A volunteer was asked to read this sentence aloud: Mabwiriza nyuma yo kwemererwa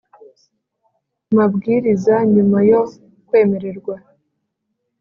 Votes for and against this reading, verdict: 2, 0, accepted